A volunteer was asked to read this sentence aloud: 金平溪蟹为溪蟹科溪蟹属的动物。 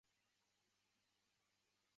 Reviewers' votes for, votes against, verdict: 1, 2, rejected